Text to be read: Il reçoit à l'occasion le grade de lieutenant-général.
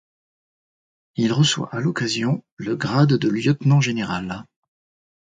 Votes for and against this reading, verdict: 2, 0, accepted